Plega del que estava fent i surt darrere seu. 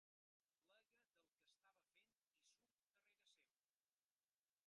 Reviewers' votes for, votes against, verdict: 0, 2, rejected